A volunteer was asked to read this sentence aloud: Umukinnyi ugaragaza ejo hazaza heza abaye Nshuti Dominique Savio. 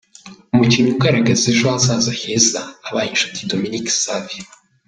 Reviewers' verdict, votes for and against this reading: accepted, 3, 2